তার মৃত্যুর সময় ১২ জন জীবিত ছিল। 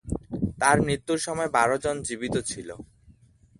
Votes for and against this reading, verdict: 0, 2, rejected